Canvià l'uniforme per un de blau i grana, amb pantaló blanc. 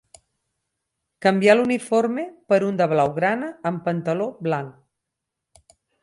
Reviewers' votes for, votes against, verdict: 0, 4, rejected